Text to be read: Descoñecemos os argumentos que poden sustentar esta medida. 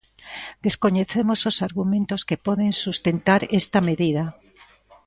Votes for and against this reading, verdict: 2, 0, accepted